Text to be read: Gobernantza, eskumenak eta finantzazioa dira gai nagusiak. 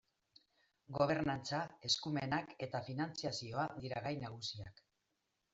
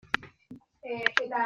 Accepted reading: first